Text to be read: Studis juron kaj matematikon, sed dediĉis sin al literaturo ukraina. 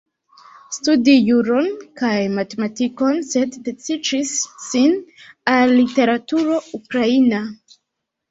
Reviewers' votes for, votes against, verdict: 1, 2, rejected